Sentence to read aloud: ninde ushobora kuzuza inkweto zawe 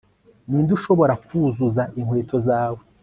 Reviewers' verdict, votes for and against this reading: accepted, 2, 0